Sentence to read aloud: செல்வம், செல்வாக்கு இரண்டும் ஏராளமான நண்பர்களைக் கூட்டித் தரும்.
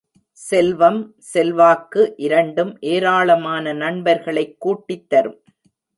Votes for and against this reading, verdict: 2, 0, accepted